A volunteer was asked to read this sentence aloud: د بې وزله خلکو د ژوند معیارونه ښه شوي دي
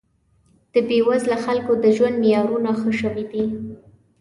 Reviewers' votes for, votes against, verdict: 2, 0, accepted